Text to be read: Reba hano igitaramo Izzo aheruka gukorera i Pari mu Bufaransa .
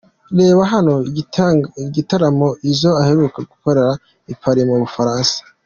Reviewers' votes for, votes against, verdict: 2, 1, accepted